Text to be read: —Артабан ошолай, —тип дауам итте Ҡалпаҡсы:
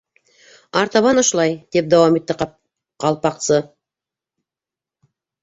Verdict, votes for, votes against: rejected, 1, 2